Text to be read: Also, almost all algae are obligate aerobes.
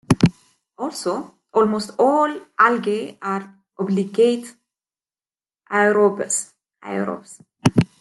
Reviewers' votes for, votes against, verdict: 0, 2, rejected